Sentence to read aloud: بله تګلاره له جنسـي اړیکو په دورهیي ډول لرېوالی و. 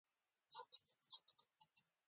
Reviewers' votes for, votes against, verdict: 2, 1, accepted